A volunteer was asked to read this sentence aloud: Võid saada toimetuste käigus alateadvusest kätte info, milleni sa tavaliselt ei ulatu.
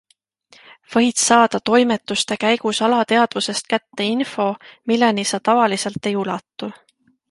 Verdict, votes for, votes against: accepted, 2, 0